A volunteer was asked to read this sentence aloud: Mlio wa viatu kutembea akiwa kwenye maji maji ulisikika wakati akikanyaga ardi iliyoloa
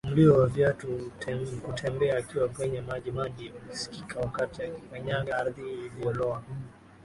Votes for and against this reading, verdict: 0, 2, rejected